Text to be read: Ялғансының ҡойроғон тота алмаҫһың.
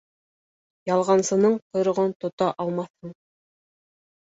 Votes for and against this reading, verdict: 2, 1, accepted